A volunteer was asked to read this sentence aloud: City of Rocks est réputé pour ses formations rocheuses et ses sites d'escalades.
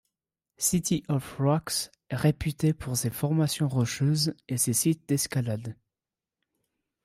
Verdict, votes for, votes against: accepted, 2, 0